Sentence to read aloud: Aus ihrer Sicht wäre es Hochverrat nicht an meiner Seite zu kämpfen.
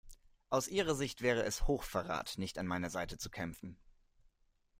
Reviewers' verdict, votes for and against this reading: accepted, 2, 0